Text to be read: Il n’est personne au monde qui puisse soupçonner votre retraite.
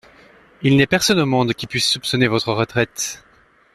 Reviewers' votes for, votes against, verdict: 2, 0, accepted